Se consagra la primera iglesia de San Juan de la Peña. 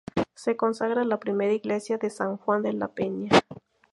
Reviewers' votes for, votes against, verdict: 2, 0, accepted